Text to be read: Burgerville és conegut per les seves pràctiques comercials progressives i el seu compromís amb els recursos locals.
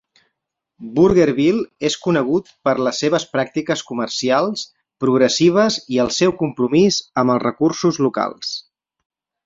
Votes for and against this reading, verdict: 4, 0, accepted